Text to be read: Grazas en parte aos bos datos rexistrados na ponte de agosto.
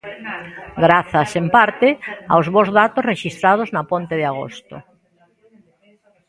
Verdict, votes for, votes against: rejected, 1, 2